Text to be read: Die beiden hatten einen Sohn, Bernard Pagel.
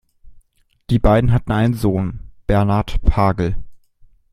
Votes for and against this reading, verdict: 2, 0, accepted